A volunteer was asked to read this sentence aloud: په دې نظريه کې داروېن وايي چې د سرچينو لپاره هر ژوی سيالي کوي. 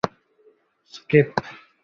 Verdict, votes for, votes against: rejected, 1, 2